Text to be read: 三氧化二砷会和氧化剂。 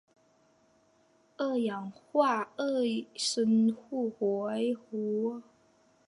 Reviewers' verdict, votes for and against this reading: rejected, 1, 2